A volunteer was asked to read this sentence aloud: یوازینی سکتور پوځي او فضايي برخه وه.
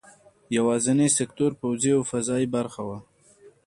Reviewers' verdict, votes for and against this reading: accepted, 3, 0